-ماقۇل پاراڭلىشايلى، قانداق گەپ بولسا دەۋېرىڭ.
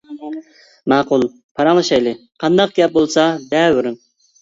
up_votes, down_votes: 2, 1